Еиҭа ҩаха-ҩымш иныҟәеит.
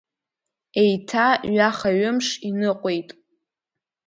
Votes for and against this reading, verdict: 2, 0, accepted